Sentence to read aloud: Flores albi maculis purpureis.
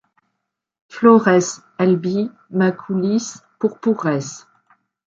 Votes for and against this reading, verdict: 1, 2, rejected